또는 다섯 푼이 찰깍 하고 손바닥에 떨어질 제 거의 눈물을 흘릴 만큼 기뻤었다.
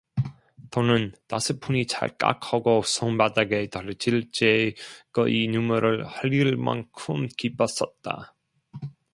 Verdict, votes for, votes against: rejected, 0, 2